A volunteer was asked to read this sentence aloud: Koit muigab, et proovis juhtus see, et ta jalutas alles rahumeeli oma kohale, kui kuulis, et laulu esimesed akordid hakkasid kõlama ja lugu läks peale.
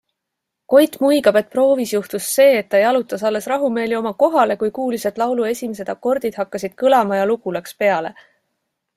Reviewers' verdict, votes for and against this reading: accepted, 2, 0